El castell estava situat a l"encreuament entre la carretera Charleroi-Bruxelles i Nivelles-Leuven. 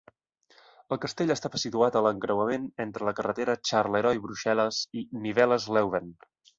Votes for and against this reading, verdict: 2, 1, accepted